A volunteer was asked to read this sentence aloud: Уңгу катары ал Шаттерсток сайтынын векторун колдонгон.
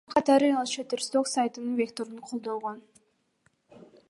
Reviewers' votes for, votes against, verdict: 2, 1, accepted